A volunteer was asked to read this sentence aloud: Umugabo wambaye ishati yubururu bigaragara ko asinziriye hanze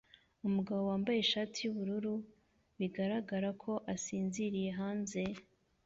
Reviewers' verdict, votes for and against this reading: accepted, 2, 0